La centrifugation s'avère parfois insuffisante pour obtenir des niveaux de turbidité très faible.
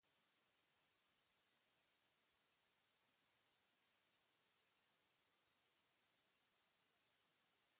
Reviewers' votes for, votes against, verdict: 0, 2, rejected